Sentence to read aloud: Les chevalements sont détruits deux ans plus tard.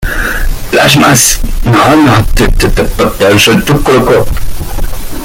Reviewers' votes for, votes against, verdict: 0, 2, rejected